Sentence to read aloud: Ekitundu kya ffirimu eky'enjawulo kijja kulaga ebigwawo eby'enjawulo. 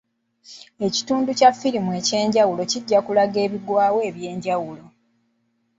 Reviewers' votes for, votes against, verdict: 2, 0, accepted